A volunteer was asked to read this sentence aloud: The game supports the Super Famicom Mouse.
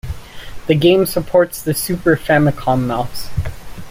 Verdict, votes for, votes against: accepted, 2, 0